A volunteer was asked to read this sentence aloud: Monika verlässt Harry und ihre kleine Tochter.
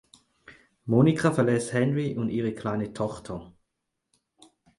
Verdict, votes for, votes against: rejected, 2, 4